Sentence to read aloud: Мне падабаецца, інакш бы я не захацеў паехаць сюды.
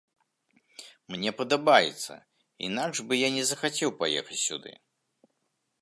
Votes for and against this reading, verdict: 2, 0, accepted